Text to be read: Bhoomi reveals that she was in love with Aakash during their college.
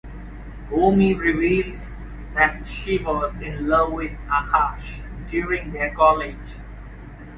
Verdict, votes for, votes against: accepted, 2, 0